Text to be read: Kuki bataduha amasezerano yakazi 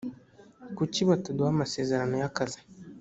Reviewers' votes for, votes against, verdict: 2, 0, accepted